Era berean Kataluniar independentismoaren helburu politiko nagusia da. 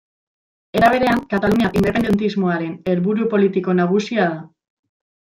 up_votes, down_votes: 1, 2